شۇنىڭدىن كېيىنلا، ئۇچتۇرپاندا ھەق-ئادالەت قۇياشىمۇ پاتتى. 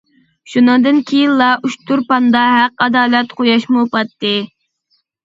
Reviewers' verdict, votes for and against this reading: rejected, 0, 2